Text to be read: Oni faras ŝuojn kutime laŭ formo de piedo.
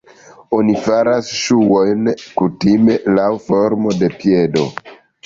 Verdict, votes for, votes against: accepted, 2, 1